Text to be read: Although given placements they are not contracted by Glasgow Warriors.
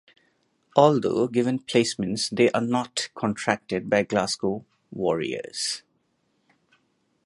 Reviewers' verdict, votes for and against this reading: accepted, 6, 0